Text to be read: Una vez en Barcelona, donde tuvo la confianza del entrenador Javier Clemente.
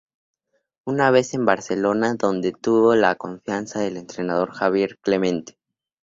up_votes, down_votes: 2, 0